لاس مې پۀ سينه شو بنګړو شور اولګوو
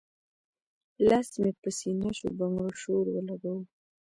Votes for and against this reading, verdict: 1, 2, rejected